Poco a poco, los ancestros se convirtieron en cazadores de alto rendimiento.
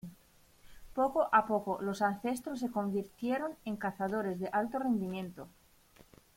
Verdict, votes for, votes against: rejected, 1, 2